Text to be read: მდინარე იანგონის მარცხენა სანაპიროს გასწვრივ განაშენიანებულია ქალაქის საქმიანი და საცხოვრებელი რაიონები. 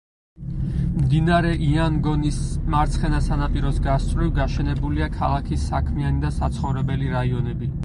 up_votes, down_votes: 0, 4